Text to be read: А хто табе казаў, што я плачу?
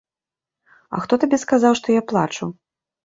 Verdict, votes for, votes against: rejected, 1, 2